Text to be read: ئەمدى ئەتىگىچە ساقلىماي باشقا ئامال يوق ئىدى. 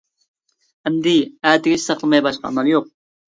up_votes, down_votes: 0, 2